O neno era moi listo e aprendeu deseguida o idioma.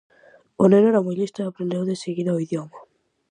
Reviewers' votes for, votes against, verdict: 4, 0, accepted